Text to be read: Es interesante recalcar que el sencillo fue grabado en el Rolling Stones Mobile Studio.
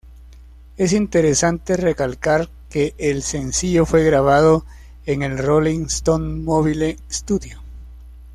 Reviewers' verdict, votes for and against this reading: accepted, 2, 0